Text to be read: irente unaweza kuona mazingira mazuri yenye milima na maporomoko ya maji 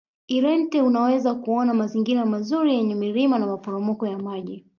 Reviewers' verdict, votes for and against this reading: rejected, 1, 2